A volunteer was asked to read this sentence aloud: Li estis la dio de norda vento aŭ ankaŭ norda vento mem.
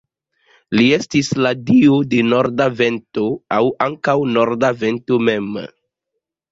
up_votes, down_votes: 1, 2